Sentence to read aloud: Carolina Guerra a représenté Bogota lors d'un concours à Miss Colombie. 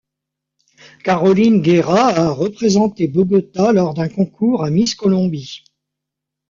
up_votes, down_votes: 2, 0